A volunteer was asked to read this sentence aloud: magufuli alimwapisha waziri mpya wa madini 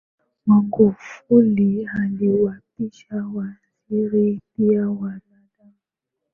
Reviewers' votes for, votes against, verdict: 2, 0, accepted